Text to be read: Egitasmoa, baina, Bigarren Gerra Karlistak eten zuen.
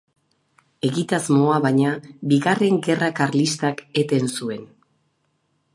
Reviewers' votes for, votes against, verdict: 2, 2, rejected